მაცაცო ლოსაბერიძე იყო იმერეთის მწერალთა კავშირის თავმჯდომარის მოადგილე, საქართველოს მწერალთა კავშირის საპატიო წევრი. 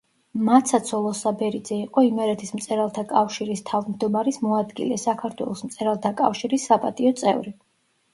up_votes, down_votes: 0, 2